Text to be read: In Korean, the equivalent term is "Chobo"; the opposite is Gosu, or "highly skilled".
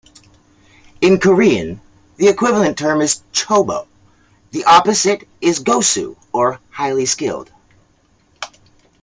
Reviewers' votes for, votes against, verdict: 2, 0, accepted